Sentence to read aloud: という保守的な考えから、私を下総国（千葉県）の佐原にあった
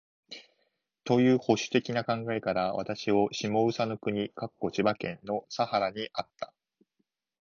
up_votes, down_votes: 3, 0